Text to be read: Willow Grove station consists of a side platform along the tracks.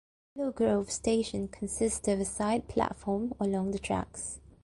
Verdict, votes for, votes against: rejected, 0, 2